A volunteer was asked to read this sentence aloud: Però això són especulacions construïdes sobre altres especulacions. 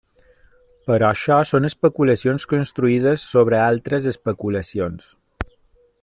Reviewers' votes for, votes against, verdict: 3, 0, accepted